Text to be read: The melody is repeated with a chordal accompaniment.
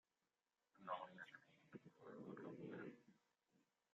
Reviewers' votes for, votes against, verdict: 0, 2, rejected